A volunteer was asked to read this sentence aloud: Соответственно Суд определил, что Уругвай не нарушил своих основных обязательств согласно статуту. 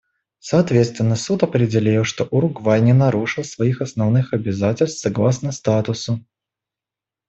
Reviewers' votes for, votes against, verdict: 1, 2, rejected